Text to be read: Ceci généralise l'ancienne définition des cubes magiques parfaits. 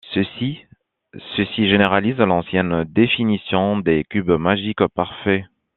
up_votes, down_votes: 1, 2